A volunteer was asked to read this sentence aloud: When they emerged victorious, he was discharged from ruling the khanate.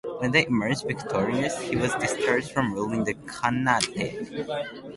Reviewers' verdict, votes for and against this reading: rejected, 0, 2